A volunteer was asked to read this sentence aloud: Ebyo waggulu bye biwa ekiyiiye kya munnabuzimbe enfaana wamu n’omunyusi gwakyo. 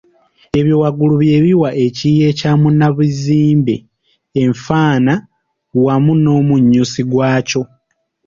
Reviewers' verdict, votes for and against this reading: rejected, 1, 3